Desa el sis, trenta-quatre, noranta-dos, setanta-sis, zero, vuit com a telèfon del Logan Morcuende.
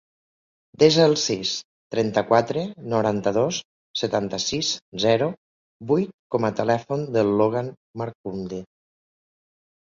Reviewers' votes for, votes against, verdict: 0, 2, rejected